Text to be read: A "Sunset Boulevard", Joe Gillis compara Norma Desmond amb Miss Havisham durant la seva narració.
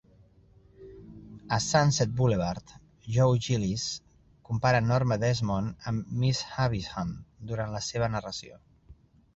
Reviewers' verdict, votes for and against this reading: accepted, 2, 0